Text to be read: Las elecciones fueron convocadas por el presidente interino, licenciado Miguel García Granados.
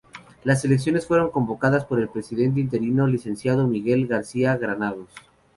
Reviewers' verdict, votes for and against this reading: accepted, 2, 0